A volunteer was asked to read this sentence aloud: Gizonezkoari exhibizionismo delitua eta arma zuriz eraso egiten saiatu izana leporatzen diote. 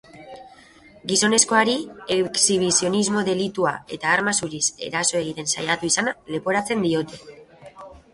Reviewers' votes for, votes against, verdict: 3, 0, accepted